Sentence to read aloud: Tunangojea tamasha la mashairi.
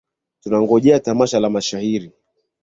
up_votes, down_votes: 2, 0